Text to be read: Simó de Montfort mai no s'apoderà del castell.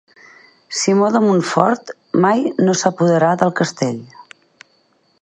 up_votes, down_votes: 4, 0